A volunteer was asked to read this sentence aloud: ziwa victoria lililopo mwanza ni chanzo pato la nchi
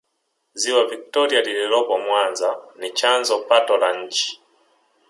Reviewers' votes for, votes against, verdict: 2, 0, accepted